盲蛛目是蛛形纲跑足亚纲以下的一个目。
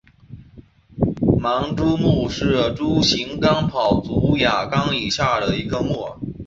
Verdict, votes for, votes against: accepted, 3, 0